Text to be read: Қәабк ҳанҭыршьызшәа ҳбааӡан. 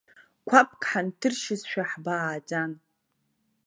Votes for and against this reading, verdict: 2, 0, accepted